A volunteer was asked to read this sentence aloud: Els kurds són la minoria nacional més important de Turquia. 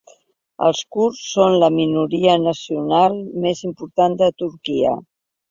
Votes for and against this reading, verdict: 3, 0, accepted